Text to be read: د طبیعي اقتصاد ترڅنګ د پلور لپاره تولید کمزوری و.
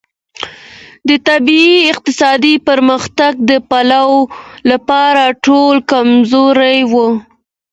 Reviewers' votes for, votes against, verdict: 2, 0, accepted